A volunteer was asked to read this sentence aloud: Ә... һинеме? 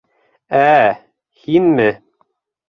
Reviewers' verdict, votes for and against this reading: rejected, 0, 3